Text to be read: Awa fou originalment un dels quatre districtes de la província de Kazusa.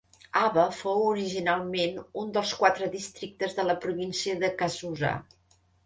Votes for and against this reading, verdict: 2, 0, accepted